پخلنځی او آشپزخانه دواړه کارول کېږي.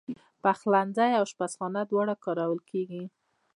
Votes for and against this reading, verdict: 0, 2, rejected